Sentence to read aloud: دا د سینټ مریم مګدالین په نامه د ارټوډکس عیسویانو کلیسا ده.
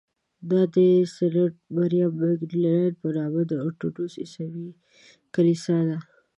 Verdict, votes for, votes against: rejected, 1, 2